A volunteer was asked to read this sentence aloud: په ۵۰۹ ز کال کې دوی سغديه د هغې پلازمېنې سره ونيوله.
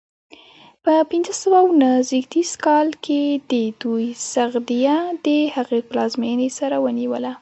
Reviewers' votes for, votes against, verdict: 0, 2, rejected